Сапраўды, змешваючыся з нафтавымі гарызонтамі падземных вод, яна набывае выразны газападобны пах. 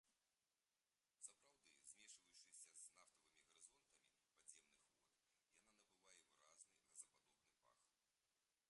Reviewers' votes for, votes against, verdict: 0, 2, rejected